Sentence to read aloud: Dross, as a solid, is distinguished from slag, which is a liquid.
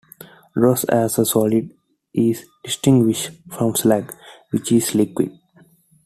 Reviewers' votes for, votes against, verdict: 0, 2, rejected